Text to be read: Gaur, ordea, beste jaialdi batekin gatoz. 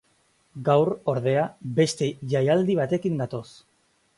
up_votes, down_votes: 2, 0